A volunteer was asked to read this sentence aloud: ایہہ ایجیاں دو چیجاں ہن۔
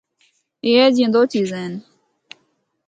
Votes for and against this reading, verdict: 0, 2, rejected